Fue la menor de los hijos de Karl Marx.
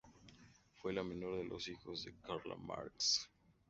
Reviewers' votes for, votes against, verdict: 2, 0, accepted